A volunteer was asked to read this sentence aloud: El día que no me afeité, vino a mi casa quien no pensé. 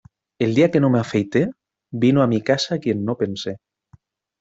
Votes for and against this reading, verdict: 2, 0, accepted